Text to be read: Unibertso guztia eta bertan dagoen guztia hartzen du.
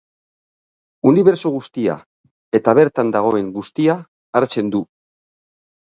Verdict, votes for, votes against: rejected, 1, 2